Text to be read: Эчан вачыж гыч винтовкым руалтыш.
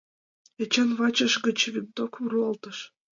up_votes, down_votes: 3, 0